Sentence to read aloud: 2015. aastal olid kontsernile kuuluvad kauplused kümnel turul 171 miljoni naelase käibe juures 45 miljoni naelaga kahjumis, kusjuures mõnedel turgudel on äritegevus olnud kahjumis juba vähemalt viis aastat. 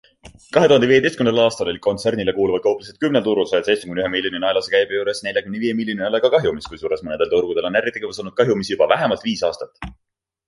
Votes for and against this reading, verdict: 0, 2, rejected